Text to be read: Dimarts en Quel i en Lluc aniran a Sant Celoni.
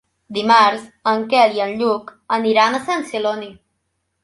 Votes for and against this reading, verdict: 3, 1, accepted